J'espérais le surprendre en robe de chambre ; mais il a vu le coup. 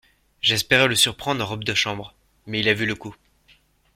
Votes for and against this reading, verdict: 2, 0, accepted